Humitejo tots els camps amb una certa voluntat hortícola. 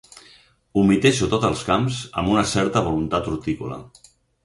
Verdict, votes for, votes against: accepted, 4, 0